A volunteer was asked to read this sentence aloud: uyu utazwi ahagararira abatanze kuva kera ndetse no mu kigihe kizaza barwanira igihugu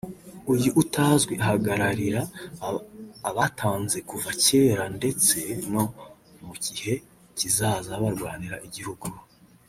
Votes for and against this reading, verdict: 0, 2, rejected